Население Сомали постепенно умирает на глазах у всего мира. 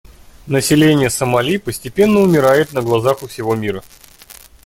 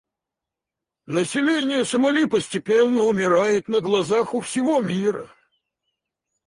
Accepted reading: first